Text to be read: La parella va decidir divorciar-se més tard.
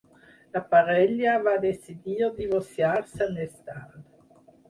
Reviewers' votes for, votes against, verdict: 0, 4, rejected